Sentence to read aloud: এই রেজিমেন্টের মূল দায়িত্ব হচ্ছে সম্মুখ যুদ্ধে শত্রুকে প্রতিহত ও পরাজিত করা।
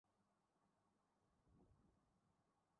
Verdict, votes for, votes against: rejected, 0, 5